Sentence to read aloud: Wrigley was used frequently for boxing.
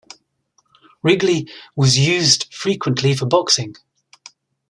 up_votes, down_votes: 2, 0